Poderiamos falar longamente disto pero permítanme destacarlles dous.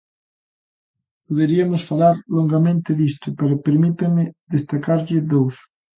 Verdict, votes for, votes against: rejected, 0, 2